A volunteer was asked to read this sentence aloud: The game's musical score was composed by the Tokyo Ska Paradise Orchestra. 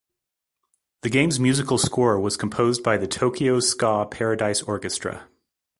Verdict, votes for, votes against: accepted, 2, 0